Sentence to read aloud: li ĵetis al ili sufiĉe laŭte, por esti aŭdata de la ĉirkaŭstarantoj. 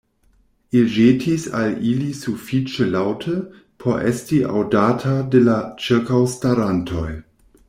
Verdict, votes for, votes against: rejected, 0, 2